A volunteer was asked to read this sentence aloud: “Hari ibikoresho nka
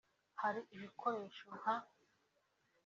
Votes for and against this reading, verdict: 2, 0, accepted